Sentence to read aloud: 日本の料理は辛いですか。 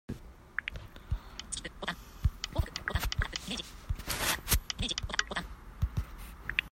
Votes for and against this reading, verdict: 0, 2, rejected